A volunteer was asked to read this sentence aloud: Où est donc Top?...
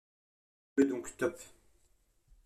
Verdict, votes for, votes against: rejected, 0, 2